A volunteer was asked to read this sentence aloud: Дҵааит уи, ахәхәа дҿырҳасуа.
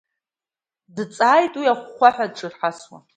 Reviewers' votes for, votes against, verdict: 0, 2, rejected